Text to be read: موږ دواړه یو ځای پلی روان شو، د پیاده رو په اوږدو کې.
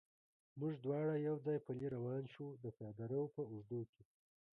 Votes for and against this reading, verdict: 1, 2, rejected